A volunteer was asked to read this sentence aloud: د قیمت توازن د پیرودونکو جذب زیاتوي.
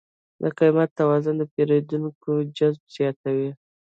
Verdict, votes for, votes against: accepted, 2, 0